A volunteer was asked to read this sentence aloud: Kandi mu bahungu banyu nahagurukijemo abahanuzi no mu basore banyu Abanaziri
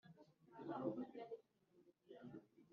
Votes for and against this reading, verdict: 0, 2, rejected